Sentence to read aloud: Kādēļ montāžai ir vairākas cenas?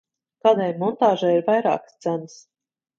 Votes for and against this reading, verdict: 0, 3, rejected